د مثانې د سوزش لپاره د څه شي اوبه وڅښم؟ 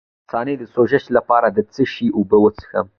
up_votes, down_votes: 2, 0